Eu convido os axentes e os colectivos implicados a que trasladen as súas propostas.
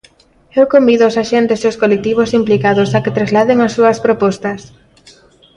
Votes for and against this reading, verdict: 0, 2, rejected